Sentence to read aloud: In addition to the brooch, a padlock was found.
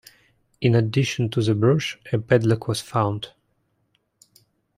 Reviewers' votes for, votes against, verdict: 2, 0, accepted